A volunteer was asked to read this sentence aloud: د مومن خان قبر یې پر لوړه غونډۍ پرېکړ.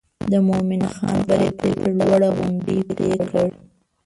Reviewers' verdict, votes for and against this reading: rejected, 1, 2